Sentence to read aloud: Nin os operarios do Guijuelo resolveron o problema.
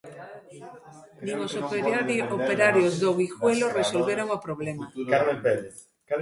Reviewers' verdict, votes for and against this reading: rejected, 0, 2